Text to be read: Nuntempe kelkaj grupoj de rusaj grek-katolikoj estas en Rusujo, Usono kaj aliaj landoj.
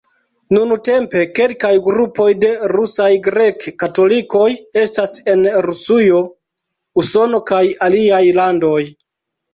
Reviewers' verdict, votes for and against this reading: rejected, 1, 2